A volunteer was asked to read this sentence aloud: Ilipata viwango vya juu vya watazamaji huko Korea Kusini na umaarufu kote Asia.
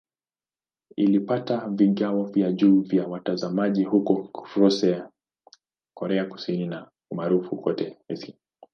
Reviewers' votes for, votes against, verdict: 0, 2, rejected